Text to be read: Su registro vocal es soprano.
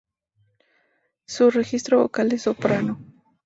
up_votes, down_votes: 2, 0